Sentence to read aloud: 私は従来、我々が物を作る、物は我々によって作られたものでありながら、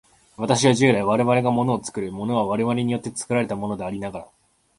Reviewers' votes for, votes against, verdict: 2, 0, accepted